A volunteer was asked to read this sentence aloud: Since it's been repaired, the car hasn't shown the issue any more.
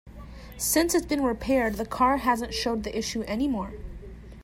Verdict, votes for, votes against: accepted, 2, 0